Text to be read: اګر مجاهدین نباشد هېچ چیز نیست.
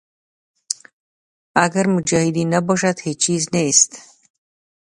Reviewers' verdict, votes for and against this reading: rejected, 0, 2